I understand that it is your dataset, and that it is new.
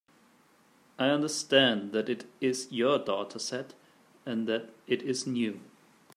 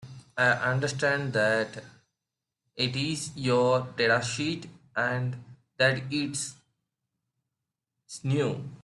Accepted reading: first